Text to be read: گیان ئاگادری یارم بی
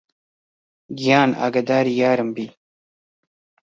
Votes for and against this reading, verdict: 2, 1, accepted